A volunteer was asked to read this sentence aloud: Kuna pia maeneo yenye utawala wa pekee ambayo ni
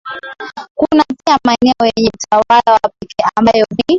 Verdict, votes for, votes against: rejected, 0, 2